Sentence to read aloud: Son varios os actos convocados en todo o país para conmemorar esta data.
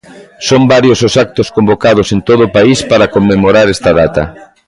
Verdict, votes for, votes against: accepted, 2, 1